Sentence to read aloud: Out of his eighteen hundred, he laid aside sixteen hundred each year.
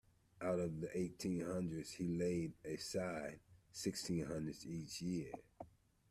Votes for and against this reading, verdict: 0, 2, rejected